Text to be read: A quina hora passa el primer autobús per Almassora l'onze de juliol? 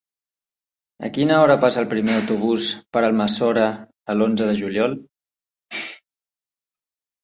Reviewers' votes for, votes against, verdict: 1, 2, rejected